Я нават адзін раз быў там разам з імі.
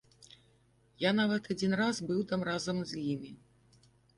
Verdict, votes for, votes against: accepted, 2, 0